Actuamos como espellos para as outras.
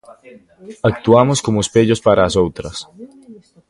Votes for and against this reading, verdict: 2, 0, accepted